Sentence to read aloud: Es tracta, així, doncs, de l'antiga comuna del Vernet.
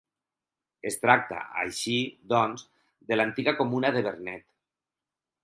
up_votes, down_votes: 2, 4